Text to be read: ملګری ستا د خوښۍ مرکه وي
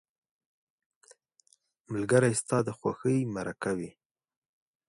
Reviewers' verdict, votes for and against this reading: accepted, 2, 0